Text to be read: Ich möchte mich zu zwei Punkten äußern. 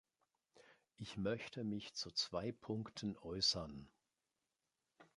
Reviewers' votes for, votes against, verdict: 1, 2, rejected